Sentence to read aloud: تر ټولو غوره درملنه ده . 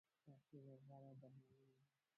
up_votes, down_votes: 0, 2